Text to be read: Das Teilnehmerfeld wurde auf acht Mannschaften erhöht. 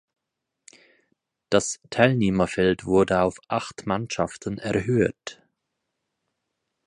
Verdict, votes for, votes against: accepted, 4, 2